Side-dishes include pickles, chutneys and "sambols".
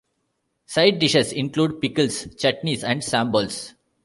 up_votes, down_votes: 2, 0